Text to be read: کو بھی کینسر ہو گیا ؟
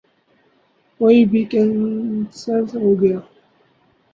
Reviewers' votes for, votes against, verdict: 0, 2, rejected